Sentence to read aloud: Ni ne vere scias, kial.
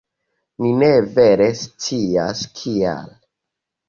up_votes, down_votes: 2, 0